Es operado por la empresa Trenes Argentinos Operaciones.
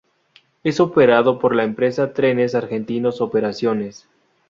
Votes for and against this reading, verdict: 2, 2, rejected